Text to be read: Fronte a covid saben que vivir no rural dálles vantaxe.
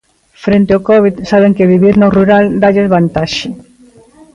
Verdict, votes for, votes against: rejected, 0, 2